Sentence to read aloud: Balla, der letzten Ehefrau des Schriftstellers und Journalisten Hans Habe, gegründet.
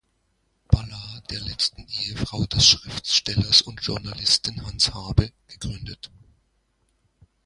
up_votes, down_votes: 0, 2